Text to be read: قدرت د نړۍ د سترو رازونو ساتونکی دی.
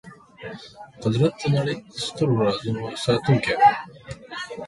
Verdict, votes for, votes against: accepted, 2, 0